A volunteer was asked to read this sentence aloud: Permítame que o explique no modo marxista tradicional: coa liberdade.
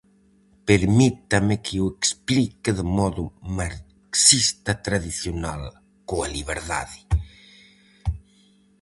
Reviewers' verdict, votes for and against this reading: rejected, 0, 4